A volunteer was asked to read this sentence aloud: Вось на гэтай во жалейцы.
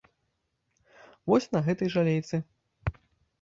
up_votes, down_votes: 0, 2